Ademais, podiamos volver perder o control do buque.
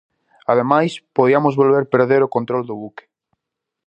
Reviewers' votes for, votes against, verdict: 0, 4, rejected